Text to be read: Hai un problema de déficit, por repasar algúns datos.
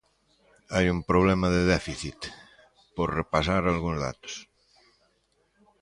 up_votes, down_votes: 2, 0